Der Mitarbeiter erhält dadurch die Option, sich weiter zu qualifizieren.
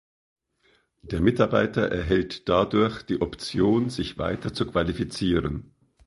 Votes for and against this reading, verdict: 2, 0, accepted